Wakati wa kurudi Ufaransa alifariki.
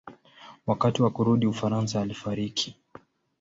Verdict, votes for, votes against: accepted, 2, 0